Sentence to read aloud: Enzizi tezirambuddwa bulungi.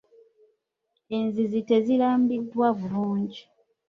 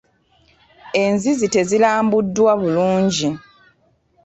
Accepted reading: second